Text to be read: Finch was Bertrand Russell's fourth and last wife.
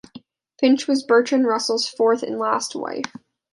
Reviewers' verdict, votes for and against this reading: accepted, 2, 0